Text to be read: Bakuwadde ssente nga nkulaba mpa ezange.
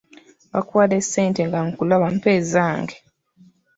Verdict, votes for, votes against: accepted, 2, 0